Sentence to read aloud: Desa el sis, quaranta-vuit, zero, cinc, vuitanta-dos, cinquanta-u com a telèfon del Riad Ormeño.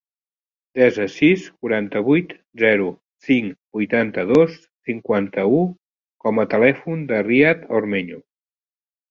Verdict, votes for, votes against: rejected, 1, 2